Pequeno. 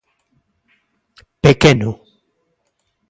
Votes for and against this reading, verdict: 2, 0, accepted